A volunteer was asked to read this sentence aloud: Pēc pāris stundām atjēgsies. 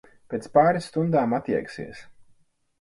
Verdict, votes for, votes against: accepted, 4, 0